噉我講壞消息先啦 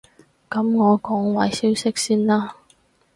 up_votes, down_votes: 4, 0